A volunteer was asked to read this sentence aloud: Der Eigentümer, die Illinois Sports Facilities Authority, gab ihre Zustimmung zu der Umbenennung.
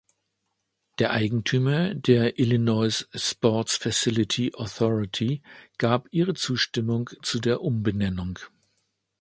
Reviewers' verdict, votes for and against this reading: rejected, 0, 2